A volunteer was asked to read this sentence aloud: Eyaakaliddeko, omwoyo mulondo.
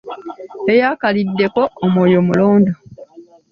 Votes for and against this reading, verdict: 2, 0, accepted